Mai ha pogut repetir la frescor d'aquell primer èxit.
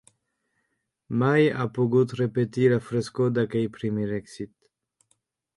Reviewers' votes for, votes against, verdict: 1, 2, rejected